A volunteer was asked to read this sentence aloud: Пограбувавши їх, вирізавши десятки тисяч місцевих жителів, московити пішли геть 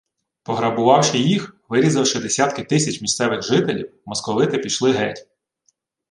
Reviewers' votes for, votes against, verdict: 2, 0, accepted